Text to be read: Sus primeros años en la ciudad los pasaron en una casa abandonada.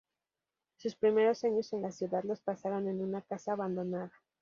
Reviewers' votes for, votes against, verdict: 0, 2, rejected